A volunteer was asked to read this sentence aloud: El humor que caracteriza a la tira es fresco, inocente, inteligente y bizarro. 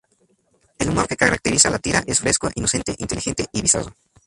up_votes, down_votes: 0, 2